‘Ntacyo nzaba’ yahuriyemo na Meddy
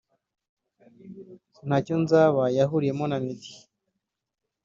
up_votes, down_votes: 2, 0